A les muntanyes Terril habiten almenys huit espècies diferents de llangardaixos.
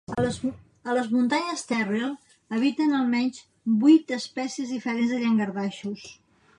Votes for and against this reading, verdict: 1, 2, rejected